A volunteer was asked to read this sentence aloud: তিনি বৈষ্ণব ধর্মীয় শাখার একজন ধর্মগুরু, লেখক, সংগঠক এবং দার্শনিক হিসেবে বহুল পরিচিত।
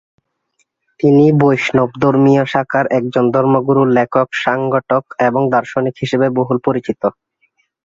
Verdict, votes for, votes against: rejected, 0, 2